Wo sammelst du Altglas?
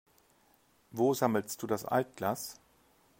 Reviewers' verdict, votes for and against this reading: rejected, 1, 3